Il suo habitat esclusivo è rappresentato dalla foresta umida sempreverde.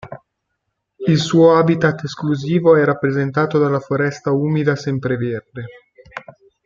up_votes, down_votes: 2, 0